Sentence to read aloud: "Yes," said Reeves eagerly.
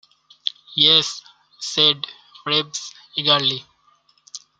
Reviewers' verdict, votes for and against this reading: accepted, 2, 0